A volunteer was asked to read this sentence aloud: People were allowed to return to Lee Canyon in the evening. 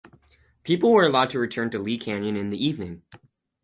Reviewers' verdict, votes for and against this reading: accepted, 4, 0